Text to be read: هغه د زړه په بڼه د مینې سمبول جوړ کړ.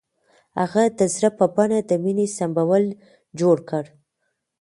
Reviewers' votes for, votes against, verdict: 2, 1, accepted